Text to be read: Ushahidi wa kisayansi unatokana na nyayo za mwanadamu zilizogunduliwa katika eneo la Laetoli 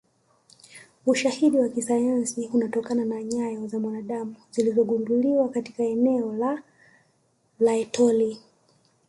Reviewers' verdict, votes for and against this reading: rejected, 1, 2